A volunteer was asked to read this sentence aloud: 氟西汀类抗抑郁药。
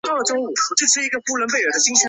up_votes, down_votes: 0, 3